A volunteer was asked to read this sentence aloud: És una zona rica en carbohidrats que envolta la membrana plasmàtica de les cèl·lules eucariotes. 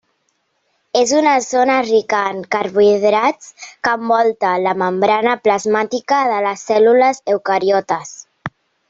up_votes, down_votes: 4, 1